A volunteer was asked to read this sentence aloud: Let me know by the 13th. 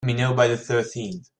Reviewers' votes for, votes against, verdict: 0, 2, rejected